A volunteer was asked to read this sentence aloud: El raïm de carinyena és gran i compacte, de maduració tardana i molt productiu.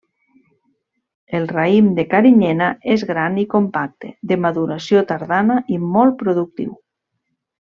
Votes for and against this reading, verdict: 3, 0, accepted